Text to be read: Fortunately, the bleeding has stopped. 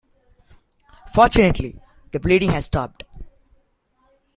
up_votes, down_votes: 2, 0